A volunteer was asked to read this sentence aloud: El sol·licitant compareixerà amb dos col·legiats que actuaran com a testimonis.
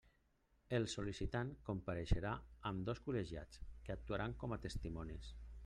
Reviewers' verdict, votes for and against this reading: rejected, 1, 2